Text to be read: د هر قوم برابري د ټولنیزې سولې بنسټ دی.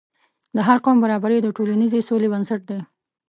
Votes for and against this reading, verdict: 2, 0, accepted